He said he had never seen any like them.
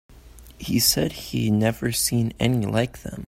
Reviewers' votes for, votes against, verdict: 0, 2, rejected